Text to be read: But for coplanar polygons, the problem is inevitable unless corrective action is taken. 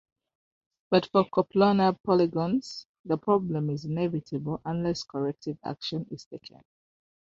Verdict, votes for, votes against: rejected, 1, 2